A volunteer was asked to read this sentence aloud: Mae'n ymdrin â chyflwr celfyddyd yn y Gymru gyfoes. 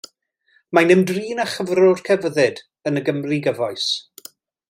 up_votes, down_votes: 2, 0